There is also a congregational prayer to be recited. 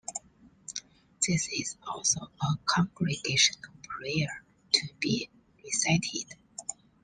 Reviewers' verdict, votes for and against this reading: rejected, 0, 2